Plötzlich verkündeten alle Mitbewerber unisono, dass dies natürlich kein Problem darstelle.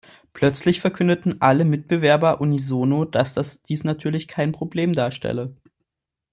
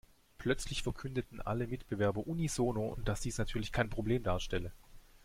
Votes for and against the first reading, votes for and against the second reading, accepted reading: 0, 2, 2, 0, second